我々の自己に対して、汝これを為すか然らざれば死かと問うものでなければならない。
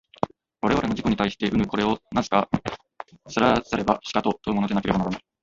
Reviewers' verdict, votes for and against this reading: rejected, 1, 2